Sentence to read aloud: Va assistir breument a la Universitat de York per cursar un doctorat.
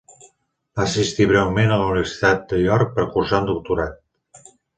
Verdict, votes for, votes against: accepted, 2, 0